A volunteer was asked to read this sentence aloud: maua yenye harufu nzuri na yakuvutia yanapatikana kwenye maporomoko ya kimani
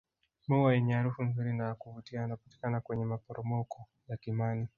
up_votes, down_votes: 2, 3